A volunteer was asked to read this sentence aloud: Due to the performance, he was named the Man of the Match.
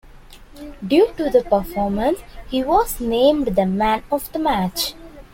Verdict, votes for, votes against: accepted, 2, 1